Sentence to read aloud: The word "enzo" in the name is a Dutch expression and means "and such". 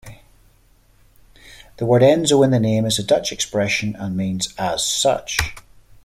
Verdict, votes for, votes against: rejected, 1, 2